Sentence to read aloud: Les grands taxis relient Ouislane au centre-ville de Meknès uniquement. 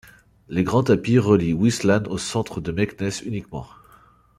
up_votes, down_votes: 1, 2